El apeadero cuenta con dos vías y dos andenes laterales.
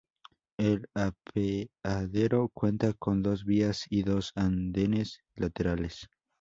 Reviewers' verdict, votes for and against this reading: rejected, 0, 2